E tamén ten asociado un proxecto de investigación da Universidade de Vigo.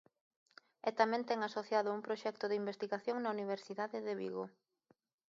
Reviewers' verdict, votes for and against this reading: rejected, 1, 2